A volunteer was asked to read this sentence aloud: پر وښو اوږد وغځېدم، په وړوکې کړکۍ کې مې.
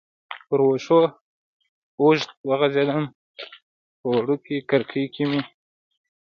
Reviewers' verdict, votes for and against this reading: rejected, 1, 2